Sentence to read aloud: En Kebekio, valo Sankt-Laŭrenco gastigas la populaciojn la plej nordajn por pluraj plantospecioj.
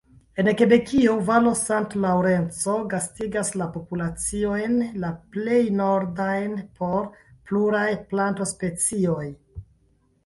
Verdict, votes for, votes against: rejected, 0, 2